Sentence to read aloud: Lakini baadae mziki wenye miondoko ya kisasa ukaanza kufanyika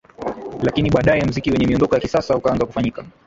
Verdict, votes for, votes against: rejected, 0, 3